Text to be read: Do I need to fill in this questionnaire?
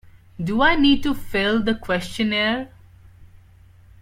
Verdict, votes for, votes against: rejected, 0, 2